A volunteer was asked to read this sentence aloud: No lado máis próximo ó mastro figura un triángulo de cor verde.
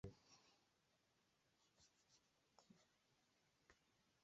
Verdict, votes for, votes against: rejected, 0, 2